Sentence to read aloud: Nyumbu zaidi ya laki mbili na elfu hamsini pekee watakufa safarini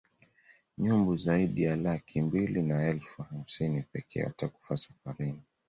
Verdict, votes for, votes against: accepted, 2, 0